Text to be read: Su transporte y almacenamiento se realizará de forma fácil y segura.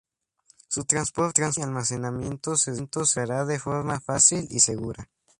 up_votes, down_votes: 2, 0